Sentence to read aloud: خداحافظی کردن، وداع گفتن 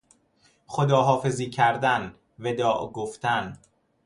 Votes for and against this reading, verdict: 2, 0, accepted